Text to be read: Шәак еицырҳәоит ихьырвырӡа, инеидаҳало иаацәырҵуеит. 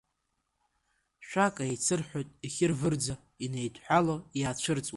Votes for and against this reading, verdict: 1, 2, rejected